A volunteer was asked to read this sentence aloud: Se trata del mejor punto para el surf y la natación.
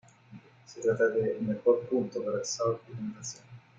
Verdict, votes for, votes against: rejected, 0, 2